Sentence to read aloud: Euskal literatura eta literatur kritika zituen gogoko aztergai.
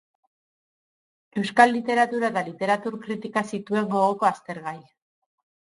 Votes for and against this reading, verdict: 4, 2, accepted